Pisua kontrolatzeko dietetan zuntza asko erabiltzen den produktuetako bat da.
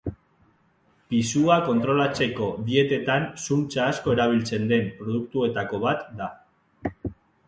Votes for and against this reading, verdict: 2, 1, accepted